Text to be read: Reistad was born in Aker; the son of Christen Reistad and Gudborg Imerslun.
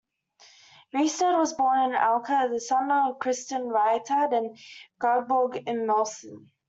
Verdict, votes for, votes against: accepted, 2, 1